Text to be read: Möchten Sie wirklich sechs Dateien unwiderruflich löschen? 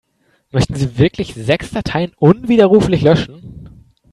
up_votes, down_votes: 3, 0